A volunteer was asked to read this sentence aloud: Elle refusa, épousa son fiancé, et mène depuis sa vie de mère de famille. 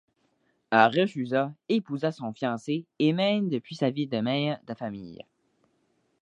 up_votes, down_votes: 2, 0